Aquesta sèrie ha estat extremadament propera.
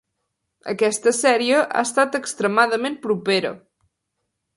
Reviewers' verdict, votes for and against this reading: accepted, 3, 0